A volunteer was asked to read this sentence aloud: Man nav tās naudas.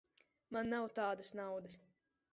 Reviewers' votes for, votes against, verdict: 1, 2, rejected